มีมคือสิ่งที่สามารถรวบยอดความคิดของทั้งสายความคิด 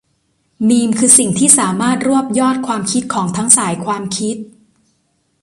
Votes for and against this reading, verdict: 2, 0, accepted